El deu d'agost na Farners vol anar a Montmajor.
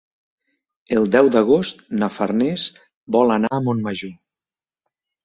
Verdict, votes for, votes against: accepted, 3, 0